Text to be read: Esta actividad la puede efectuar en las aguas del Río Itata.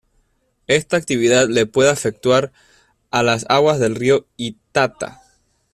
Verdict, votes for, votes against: rejected, 0, 2